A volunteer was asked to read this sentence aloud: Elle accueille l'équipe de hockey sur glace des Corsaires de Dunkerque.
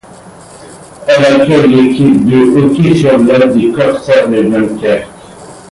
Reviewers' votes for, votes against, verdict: 0, 2, rejected